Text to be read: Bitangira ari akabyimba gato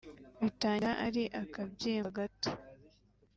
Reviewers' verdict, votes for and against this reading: accepted, 2, 0